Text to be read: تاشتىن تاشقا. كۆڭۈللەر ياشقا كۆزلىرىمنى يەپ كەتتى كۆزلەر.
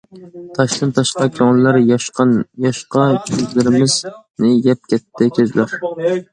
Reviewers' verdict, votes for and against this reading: rejected, 0, 2